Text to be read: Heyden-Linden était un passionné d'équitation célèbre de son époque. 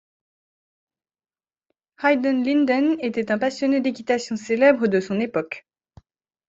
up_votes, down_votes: 2, 0